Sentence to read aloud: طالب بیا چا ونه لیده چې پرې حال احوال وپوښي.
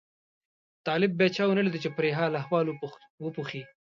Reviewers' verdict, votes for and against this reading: accepted, 2, 0